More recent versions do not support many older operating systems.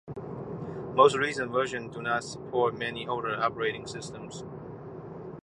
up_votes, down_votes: 0, 2